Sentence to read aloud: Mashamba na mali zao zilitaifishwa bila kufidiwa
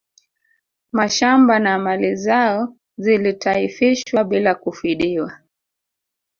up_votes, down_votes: 2, 0